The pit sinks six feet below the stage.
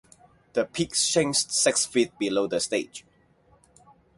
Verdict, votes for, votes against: accepted, 2, 0